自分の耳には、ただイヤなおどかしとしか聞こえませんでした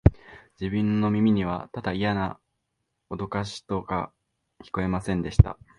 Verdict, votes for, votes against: accepted, 2, 1